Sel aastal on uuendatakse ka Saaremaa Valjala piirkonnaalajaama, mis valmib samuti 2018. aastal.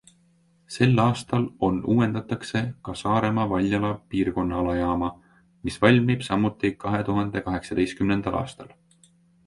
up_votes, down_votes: 0, 2